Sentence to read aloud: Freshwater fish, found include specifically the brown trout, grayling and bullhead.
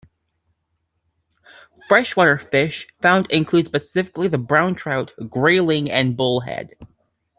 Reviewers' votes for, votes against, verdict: 2, 0, accepted